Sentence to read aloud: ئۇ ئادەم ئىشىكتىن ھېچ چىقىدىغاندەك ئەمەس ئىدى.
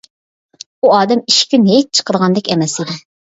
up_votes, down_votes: 0, 2